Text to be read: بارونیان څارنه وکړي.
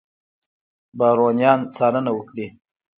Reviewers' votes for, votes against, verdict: 2, 1, accepted